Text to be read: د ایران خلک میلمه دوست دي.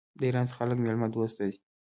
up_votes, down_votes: 2, 0